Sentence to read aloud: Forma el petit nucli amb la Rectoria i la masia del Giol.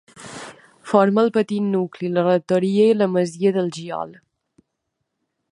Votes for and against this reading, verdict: 1, 2, rejected